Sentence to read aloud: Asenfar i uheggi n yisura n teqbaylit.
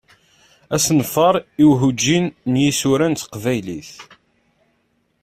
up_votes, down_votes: 1, 3